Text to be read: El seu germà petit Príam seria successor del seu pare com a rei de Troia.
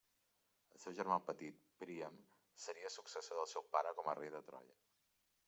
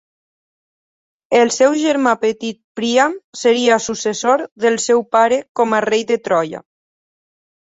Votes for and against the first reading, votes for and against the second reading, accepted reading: 0, 3, 4, 0, second